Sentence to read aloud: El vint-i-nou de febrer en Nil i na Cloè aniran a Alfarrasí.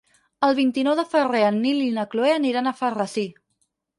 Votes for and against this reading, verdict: 4, 2, accepted